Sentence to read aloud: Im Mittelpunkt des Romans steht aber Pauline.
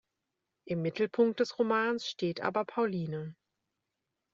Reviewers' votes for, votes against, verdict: 2, 0, accepted